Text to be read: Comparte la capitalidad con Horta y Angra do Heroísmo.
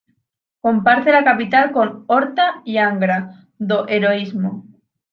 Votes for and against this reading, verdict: 1, 2, rejected